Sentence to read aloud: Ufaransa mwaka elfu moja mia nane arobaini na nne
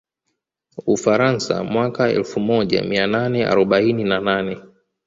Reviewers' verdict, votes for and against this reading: rejected, 1, 2